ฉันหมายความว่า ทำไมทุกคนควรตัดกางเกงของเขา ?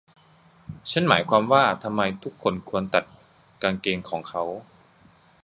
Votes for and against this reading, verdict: 0, 2, rejected